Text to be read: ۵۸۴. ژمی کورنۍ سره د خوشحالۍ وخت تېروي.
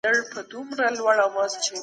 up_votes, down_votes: 0, 2